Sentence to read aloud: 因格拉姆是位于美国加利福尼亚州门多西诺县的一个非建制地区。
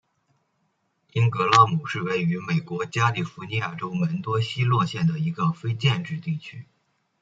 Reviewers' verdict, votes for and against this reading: accepted, 2, 0